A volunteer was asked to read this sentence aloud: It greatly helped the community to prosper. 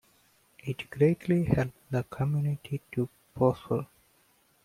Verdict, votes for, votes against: accepted, 2, 0